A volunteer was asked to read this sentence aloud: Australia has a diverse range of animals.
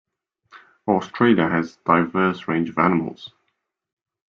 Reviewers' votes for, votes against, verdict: 1, 2, rejected